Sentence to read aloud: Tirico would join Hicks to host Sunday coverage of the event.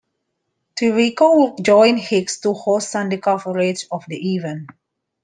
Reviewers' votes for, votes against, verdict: 0, 2, rejected